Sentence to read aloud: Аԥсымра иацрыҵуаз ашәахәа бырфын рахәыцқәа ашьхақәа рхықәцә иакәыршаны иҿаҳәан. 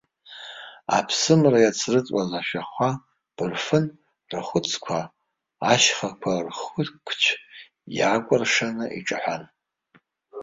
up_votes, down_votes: 0, 2